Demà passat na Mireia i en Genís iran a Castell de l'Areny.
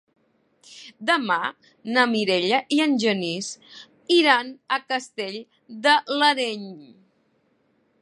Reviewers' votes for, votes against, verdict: 0, 4, rejected